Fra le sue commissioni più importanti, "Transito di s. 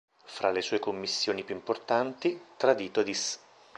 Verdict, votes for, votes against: rejected, 0, 2